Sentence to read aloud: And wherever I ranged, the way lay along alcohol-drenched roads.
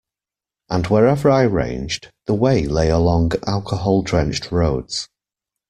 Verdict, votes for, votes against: accepted, 2, 0